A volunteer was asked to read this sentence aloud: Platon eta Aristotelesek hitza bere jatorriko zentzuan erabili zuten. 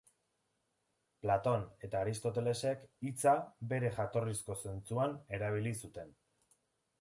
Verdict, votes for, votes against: rejected, 0, 2